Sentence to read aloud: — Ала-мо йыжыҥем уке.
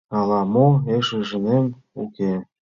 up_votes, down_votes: 0, 3